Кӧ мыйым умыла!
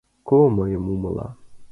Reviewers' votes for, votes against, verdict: 0, 2, rejected